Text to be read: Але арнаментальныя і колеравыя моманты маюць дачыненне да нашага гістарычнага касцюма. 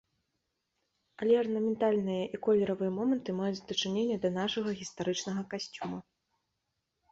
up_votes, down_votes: 2, 0